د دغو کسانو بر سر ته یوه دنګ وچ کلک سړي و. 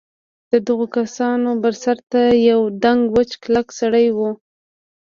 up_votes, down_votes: 2, 0